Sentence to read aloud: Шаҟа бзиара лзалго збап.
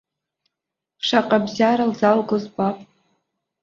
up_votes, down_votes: 0, 2